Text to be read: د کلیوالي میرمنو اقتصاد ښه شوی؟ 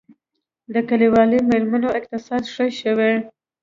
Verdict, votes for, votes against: rejected, 1, 2